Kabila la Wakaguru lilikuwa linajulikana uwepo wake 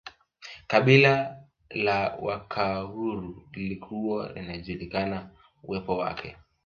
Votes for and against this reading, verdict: 2, 1, accepted